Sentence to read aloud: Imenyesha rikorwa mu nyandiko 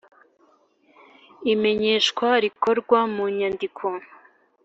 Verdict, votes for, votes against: accepted, 2, 0